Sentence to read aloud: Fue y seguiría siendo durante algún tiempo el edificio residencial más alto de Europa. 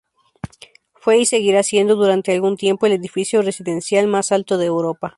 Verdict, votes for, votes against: rejected, 2, 2